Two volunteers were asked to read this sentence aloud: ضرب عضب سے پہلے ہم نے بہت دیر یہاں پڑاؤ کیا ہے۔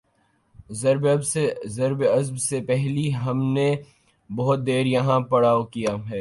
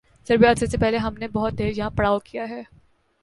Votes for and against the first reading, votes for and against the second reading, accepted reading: 2, 2, 3, 0, second